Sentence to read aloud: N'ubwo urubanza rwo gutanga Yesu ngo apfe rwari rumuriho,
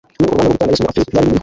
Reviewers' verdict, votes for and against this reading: rejected, 1, 2